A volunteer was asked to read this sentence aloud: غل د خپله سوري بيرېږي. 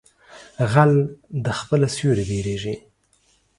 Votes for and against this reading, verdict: 2, 0, accepted